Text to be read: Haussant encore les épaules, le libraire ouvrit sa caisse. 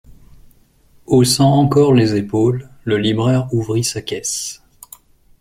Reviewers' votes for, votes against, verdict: 2, 0, accepted